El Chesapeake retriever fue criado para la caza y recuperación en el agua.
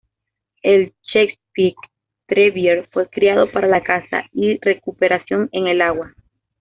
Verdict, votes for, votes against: accepted, 2, 0